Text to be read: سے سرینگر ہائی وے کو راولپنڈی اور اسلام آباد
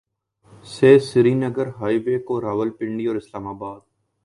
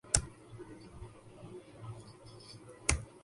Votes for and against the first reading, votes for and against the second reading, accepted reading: 2, 0, 0, 4, first